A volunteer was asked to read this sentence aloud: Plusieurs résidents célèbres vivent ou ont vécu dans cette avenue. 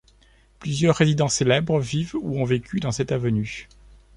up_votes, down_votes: 2, 1